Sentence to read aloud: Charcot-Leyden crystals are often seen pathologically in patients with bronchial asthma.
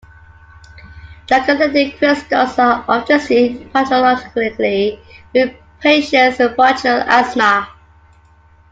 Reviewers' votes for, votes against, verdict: 0, 2, rejected